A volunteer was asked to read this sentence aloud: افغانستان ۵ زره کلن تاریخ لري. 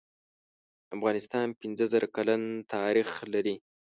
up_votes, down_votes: 0, 2